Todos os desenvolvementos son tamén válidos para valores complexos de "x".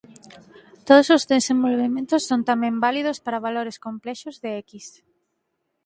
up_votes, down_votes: 2, 4